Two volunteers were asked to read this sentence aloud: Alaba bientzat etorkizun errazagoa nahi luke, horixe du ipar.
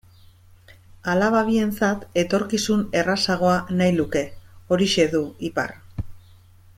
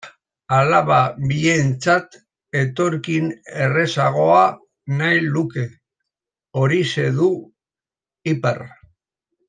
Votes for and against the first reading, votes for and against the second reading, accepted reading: 2, 0, 1, 2, first